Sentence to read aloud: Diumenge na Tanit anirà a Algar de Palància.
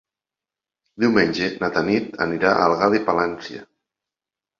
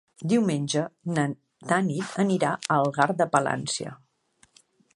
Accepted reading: first